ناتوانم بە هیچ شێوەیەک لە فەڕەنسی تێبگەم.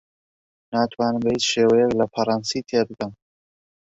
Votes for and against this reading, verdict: 2, 0, accepted